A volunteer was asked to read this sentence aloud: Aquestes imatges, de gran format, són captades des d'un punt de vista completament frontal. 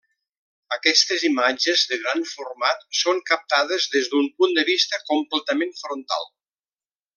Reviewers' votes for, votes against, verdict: 1, 2, rejected